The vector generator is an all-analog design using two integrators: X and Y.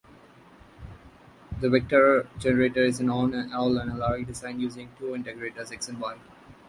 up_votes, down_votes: 0, 2